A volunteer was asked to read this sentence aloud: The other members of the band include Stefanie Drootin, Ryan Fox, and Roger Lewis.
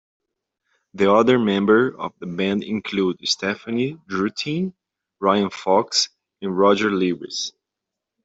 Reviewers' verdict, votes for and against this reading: rejected, 0, 2